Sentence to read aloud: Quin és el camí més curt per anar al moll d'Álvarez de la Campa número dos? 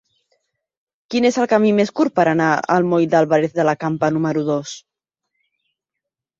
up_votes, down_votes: 2, 0